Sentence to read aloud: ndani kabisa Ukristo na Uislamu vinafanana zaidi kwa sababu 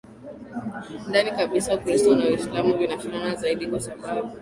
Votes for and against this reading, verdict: 1, 2, rejected